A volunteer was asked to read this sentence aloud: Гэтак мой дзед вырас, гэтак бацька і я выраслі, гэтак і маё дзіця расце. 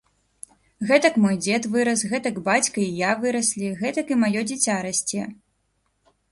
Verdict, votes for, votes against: accepted, 2, 0